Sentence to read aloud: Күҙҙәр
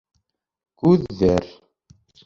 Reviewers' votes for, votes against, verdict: 2, 1, accepted